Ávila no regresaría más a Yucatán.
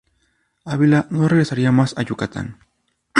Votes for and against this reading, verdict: 2, 0, accepted